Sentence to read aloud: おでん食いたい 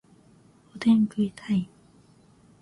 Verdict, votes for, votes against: accepted, 13, 2